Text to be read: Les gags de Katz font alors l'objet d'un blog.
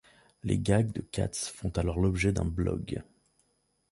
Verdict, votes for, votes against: accepted, 2, 0